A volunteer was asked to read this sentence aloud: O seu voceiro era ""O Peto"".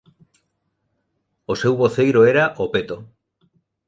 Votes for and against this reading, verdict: 2, 0, accepted